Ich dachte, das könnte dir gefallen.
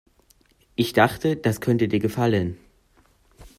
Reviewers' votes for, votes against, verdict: 1, 2, rejected